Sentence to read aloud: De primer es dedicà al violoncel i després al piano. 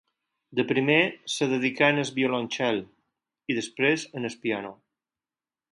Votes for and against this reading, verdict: 0, 4, rejected